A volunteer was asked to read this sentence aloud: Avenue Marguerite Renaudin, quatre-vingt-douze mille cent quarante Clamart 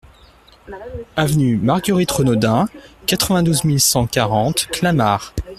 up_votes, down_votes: 1, 2